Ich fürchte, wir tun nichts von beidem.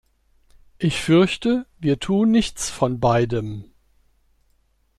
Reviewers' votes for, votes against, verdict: 2, 0, accepted